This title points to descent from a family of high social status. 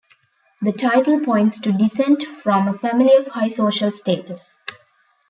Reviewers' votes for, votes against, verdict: 1, 2, rejected